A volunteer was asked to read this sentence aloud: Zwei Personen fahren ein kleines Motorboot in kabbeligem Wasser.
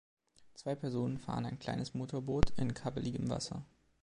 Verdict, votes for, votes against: accepted, 2, 0